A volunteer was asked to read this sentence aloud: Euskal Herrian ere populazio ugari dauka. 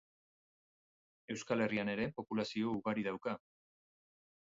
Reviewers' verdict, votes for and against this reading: accepted, 2, 0